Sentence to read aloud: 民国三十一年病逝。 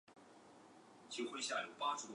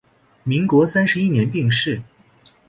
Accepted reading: second